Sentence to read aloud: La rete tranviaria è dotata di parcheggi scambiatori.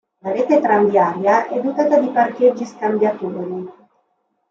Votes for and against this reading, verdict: 1, 2, rejected